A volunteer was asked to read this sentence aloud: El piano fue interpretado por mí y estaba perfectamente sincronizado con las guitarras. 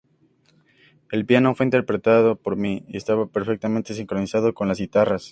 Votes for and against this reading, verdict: 2, 0, accepted